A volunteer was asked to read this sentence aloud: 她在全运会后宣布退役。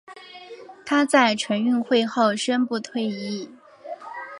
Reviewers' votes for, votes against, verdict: 3, 0, accepted